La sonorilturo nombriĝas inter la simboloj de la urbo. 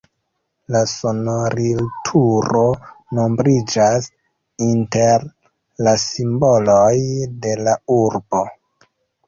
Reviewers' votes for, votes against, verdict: 2, 0, accepted